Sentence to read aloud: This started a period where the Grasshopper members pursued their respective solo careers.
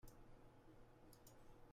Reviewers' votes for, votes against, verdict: 0, 2, rejected